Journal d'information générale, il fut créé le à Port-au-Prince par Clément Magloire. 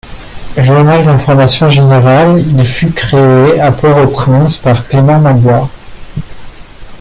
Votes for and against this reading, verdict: 1, 2, rejected